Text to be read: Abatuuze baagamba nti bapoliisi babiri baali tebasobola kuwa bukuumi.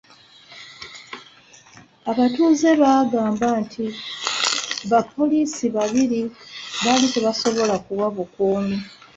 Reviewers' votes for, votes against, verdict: 2, 1, accepted